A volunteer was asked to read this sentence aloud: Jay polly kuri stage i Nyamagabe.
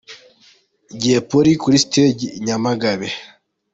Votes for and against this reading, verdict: 2, 0, accepted